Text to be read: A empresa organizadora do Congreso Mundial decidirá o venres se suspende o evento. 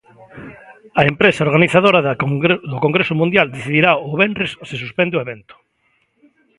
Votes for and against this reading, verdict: 1, 2, rejected